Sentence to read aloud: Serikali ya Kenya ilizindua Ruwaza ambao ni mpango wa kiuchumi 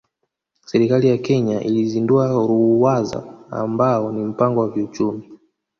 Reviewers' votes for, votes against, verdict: 3, 0, accepted